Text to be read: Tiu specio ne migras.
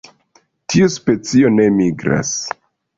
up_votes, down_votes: 0, 2